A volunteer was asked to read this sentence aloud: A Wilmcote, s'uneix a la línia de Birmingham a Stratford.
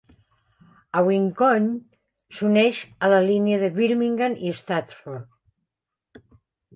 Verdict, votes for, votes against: rejected, 1, 2